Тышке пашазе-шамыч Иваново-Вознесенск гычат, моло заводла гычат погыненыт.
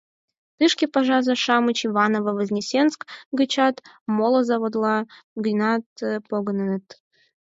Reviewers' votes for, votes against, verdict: 2, 4, rejected